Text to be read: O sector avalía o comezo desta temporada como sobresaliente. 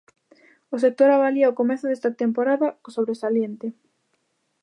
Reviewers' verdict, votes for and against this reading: rejected, 0, 2